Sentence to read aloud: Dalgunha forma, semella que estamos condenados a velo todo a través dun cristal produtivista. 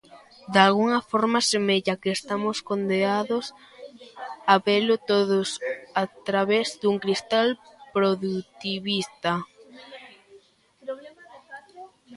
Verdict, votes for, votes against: rejected, 0, 2